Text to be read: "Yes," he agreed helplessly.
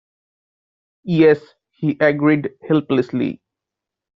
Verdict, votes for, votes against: accepted, 2, 0